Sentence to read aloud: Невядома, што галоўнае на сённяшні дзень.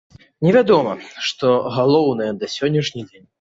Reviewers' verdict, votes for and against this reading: accepted, 2, 0